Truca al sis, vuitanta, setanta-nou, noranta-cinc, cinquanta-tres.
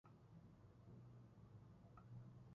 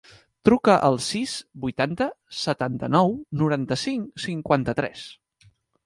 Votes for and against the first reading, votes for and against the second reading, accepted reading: 0, 2, 3, 0, second